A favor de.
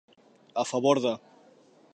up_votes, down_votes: 2, 0